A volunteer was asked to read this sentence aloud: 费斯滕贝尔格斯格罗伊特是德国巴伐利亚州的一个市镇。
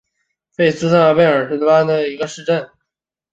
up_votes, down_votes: 2, 6